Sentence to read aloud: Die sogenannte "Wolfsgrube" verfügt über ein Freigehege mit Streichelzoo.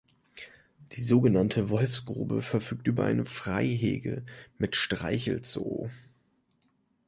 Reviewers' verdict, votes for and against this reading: accepted, 2, 0